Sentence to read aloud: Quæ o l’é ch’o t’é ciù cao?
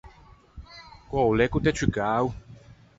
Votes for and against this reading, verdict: 4, 0, accepted